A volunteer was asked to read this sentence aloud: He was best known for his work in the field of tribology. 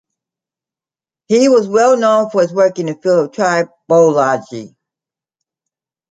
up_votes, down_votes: 1, 2